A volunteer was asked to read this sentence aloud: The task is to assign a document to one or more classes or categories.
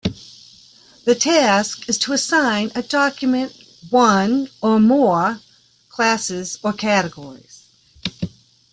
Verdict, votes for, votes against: rejected, 1, 2